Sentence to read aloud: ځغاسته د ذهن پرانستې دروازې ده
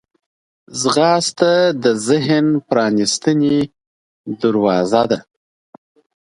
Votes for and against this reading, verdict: 2, 0, accepted